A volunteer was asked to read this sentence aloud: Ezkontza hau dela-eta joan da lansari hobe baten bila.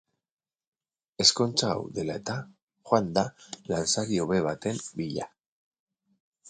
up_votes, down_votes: 2, 2